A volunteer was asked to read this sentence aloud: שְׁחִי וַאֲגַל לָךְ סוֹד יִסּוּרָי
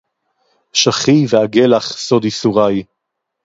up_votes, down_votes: 2, 2